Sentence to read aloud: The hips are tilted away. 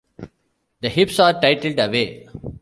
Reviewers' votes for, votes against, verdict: 0, 2, rejected